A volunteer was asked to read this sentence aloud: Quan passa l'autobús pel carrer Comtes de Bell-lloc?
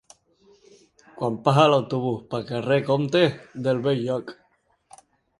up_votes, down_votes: 1, 2